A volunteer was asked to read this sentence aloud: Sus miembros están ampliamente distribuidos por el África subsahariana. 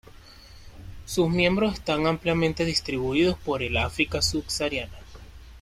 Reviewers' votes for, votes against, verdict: 1, 2, rejected